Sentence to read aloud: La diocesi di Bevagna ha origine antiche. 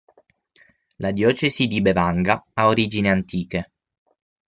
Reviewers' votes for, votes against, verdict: 0, 6, rejected